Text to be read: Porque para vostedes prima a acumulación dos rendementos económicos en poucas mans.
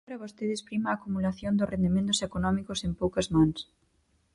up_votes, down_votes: 0, 4